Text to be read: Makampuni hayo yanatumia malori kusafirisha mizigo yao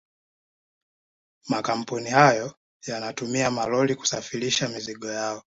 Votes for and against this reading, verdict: 2, 1, accepted